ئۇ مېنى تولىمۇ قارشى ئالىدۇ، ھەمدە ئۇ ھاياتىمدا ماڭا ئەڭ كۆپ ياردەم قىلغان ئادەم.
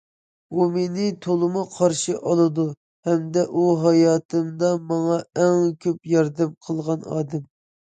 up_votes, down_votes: 2, 0